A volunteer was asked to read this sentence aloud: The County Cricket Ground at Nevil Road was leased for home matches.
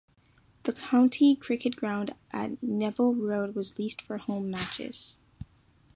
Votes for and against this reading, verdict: 2, 0, accepted